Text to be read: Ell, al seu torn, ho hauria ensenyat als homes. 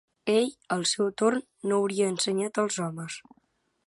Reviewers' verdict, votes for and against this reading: rejected, 1, 2